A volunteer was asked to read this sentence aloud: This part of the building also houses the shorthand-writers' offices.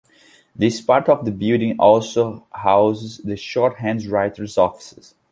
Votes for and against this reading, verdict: 1, 2, rejected